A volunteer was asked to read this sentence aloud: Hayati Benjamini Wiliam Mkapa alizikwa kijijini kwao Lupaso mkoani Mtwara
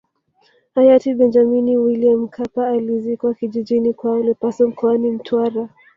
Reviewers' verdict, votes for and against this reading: rejected, 1, 2